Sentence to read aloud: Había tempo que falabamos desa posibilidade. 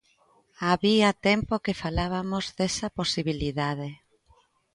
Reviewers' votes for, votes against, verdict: 0, 2, rejected